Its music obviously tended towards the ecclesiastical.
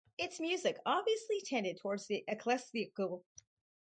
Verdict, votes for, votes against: rejected, 2, 4